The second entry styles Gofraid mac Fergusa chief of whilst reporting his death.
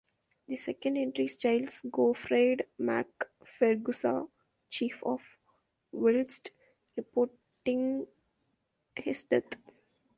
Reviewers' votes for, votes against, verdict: 0, 2, rejected